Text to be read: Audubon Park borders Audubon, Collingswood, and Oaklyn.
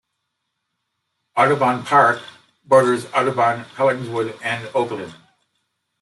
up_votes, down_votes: 2, 0